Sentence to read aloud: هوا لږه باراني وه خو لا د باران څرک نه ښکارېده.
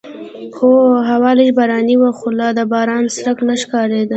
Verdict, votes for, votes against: accepted, 2, 0